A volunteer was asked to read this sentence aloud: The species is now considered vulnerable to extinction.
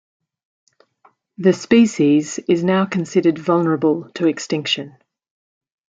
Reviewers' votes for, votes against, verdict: 2, 0, accepted